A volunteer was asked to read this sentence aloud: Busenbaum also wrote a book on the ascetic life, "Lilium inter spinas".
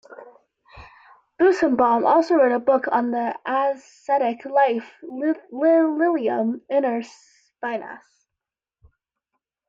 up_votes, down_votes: 0, 2